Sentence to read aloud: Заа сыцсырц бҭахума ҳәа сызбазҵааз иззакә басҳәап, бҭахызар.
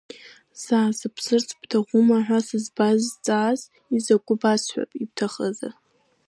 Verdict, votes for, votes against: rejected, 0, 2